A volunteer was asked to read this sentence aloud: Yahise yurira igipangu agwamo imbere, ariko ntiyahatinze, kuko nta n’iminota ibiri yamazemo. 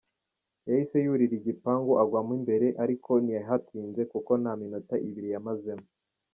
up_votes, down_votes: 2, 1